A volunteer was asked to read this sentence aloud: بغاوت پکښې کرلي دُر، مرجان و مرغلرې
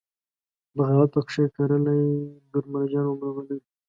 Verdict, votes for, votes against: rejected, 1, 2